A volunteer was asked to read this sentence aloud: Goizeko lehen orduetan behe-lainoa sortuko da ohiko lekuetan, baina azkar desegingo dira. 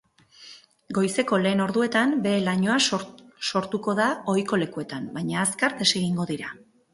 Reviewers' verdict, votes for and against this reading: rejected, 0, 4